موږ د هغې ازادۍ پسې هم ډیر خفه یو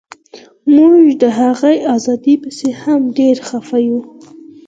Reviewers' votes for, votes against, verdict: 4, 0, accepted